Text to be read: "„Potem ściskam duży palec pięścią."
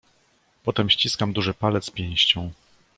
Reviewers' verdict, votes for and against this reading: accepted, 2, 0